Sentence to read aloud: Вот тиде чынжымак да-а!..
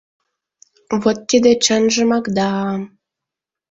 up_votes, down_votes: 2, 0